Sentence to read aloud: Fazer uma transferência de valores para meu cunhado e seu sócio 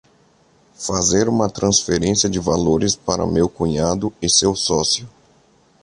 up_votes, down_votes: 2, 0